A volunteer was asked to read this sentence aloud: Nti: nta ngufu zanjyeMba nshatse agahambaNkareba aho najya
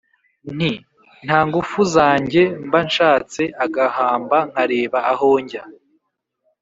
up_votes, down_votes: 3, 0